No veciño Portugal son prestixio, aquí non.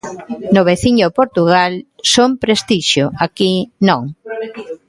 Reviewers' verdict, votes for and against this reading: rejected, 1, 2